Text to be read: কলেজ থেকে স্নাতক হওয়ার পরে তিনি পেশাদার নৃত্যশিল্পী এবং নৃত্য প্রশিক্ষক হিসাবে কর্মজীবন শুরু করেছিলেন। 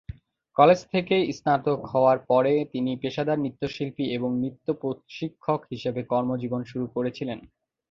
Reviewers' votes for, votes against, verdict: 2, 1, accepted